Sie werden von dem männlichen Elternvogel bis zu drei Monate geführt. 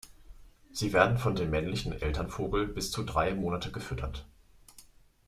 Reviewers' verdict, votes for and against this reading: rejected, 0, 2